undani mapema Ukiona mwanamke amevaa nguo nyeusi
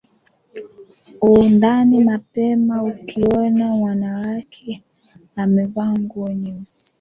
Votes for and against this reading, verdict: 1, 2, rejected